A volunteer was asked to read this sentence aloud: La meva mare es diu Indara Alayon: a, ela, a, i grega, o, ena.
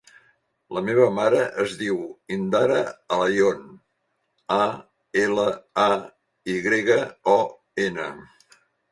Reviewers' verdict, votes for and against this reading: accepted, 3, 0